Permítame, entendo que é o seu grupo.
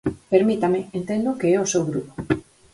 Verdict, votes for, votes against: accepted, 4, 0